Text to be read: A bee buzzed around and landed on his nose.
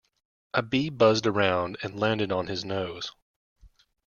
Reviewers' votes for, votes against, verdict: 2, 0, accepted